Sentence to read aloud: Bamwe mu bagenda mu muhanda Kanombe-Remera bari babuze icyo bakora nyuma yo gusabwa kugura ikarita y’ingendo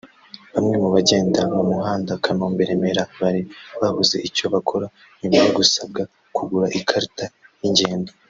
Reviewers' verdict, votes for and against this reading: rejected, 1, 2